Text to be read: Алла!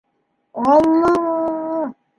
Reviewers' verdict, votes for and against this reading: rejected, 1, 2